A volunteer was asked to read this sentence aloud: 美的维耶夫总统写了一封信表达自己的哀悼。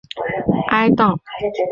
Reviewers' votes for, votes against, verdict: 0, 2, rejected